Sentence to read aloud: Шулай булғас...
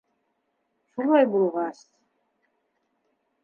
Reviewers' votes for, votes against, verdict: 0, 2, rejected